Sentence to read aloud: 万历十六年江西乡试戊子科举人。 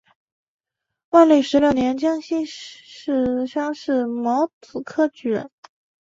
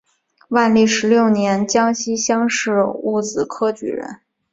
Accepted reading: second